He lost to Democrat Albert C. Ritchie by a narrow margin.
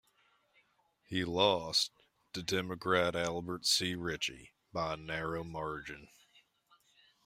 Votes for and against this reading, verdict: 2, 1, accepted